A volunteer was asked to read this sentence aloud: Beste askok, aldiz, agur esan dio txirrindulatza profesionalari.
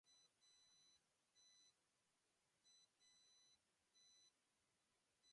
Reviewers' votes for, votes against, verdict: 0, 4, rejected